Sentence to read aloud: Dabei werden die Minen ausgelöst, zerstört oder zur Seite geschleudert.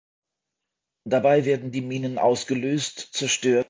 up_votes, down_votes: 0, 2